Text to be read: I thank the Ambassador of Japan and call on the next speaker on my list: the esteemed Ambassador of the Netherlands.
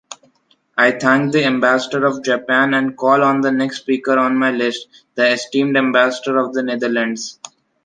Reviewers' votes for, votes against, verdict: 2, 0, accepted